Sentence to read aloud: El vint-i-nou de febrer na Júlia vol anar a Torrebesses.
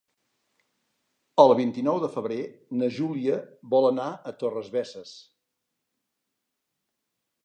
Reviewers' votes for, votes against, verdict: 0, 2, rejected